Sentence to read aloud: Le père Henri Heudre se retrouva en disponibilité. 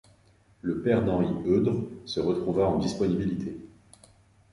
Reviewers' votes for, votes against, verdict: 1, 2, rejected